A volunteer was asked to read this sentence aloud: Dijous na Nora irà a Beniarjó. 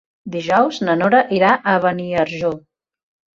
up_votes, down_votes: 2, 0